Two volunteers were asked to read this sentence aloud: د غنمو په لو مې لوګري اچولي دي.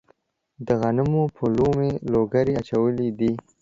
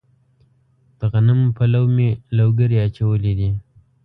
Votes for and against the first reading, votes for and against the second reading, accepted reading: 2, 3, 2, 0, second